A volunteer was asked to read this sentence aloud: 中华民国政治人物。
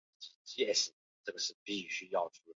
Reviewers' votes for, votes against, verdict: 1, 3, rejected